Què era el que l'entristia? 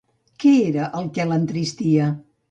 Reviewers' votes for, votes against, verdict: 1, 2, rejected